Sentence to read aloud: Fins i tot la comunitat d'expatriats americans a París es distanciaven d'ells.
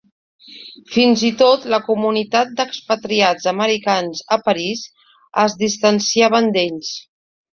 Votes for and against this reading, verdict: 2, 0, accepted